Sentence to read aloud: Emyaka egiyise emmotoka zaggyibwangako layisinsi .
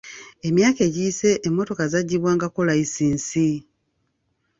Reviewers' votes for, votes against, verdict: 2, 0, accepted